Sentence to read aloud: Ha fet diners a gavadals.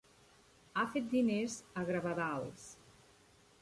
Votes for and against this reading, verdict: 1, 2, rejected